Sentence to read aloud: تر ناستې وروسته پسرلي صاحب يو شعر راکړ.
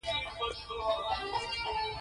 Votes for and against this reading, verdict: 2, 1, accepted